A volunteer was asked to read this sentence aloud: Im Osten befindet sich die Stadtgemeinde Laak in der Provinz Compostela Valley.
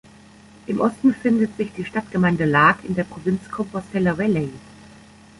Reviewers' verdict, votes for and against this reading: rejected, 1, 2